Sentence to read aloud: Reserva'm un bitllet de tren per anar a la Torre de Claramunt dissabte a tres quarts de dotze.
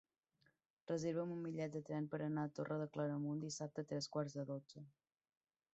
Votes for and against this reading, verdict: 0, 2, rejected